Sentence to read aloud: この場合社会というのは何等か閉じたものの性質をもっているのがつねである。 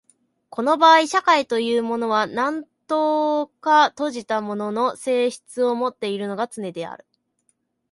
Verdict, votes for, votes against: accepted, 2, 0